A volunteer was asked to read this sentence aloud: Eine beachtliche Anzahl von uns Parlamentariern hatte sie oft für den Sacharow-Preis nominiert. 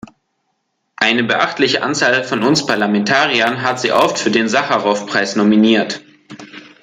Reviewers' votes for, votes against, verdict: 1, 2, rejected